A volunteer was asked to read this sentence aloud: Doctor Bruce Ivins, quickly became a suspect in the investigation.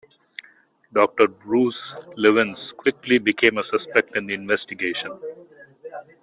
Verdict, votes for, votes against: rejected, 0, 2